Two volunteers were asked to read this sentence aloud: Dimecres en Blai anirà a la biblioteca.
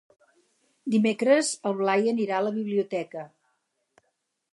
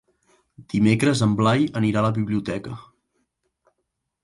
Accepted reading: second